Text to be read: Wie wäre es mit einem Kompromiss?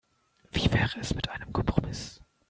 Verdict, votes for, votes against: rejected, 0, 2